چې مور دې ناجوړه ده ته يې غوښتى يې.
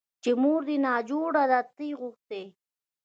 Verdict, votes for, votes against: rejected, 0, 2